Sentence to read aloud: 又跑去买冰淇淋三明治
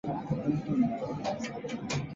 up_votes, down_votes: 0, 2